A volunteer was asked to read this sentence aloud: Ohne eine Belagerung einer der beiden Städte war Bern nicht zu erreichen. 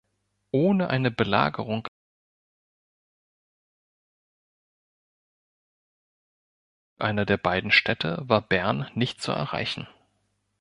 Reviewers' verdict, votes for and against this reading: rejected, 1, 3